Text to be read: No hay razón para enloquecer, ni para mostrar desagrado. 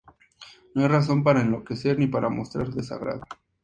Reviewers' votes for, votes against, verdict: 2, 0, accepted